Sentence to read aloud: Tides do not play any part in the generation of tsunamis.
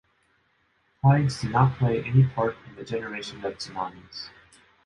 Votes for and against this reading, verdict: 1, 2, rejected